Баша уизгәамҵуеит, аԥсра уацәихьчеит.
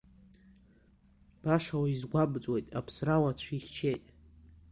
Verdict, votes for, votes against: accepted, 2, 0